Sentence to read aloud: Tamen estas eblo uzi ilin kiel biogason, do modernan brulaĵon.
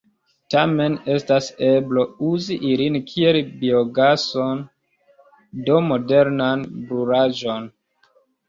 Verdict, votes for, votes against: rejected, 1, 2